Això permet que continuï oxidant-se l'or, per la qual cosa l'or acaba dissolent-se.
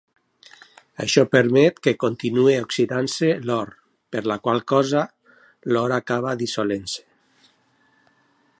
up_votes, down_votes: 2, 0